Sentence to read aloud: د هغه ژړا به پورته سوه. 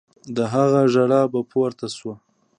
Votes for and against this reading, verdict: 2, 0, accepted